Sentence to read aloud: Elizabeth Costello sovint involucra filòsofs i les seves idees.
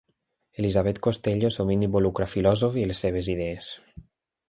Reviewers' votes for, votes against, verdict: 0, 2, rejected